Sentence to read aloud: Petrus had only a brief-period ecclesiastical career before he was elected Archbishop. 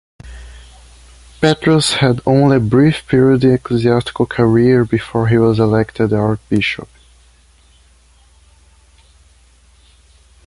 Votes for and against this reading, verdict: 1, 2, rejected